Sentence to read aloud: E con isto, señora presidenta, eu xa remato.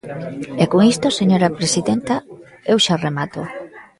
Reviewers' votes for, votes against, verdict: 1, 2, rejected